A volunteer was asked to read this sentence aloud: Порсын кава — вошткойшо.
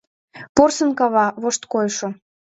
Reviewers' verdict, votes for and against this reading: accepted, 2, 0